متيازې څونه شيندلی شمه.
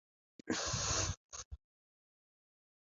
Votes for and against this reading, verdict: 1, 2, rejected